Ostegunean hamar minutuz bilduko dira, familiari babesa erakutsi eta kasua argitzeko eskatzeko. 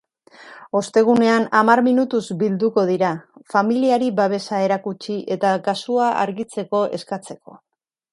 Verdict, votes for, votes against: accepted, 7, 0